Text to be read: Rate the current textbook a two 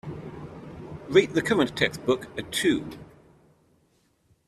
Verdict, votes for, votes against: accepted, 3, 0